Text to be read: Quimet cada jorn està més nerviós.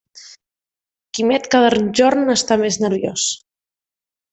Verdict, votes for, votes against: rejected, 1, 2